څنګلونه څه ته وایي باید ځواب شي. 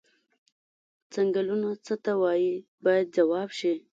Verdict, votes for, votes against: accepted, 2, 0